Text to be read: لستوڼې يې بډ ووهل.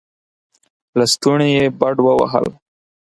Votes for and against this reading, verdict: 4, 0, accepted